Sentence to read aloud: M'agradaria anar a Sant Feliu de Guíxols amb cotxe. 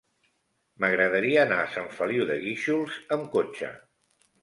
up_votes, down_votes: 3, 0